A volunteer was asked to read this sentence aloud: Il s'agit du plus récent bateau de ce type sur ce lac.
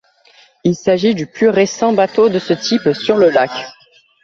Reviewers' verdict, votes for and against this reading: rejected, 1, 2